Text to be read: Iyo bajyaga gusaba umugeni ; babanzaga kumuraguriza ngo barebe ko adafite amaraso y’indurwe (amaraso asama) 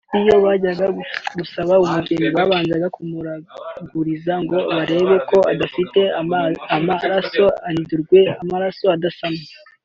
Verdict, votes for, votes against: rejected, 0, 2